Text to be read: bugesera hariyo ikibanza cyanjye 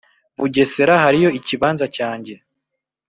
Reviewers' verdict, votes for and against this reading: accepted, 3, 0